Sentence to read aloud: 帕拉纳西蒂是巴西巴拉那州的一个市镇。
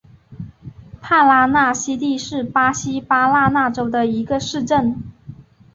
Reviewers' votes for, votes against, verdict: 6, 1, accepted